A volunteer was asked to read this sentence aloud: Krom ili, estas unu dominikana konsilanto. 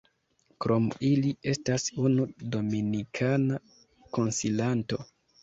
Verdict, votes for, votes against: accepted, 2, 0